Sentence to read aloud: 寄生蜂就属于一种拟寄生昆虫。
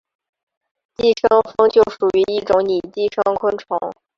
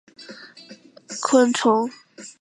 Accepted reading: first